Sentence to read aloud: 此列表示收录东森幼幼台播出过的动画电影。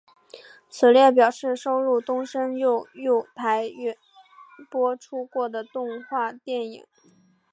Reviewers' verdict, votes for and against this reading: accepted, 3, 0